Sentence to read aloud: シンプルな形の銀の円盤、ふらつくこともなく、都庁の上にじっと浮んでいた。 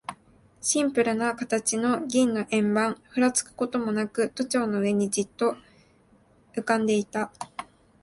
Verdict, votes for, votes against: accepted, 2, 0